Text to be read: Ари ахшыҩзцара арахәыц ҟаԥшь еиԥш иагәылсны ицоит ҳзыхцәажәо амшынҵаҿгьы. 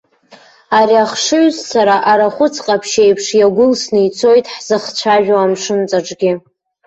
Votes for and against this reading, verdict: 2, 0, accepted